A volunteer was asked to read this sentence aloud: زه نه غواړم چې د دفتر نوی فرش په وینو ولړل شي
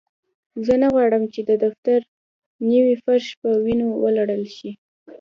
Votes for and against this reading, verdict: 1, 2, rejected